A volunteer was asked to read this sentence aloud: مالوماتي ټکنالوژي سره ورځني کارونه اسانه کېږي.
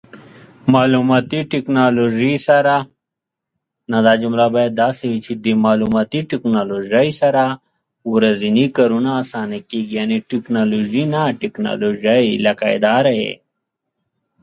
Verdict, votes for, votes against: rejected, 0, 2